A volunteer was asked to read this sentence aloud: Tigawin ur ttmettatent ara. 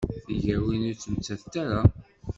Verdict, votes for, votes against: accepted, 2, 0